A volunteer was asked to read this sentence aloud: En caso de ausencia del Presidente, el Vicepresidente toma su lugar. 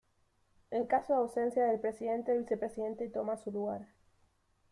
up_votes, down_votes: 1, 2